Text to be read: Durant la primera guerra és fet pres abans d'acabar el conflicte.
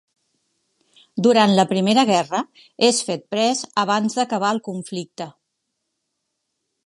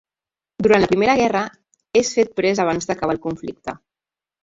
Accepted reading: first